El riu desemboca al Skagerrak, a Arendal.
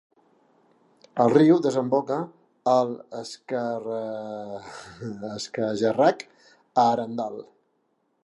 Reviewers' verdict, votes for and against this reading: rejected, 0, 2